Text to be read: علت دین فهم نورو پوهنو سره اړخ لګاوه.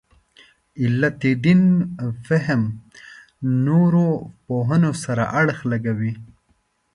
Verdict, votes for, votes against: rejected, 0, 2